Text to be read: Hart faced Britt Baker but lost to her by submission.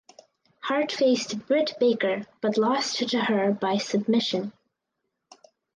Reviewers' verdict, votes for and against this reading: accepted, 4, 0